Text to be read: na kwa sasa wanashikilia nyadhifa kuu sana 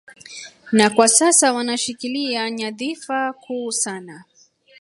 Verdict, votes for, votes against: rejected, 1, 2